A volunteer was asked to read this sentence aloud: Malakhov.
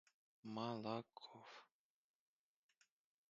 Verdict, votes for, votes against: rejected, 1, 2